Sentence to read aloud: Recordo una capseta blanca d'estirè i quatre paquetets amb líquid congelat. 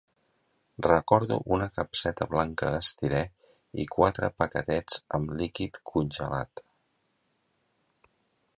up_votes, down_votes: 2, 0